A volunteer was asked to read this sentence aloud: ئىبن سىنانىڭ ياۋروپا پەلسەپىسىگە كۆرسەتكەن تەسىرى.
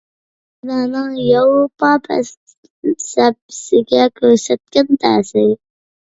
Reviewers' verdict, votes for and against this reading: rejected, 0, 2